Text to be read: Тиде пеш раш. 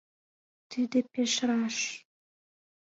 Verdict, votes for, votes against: accepted, 2, 1